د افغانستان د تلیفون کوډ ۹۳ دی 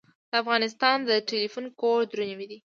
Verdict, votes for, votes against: rejected, 0, 2